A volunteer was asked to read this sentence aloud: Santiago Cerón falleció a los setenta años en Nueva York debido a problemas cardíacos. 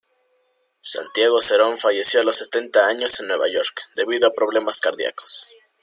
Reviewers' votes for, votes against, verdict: 2, 1, accepted